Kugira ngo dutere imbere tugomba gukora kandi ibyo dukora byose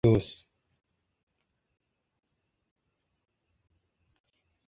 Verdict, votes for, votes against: rejected, 0, 2